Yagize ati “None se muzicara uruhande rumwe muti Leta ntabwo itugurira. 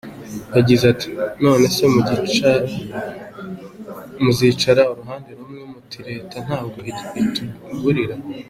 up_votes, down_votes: 0, 2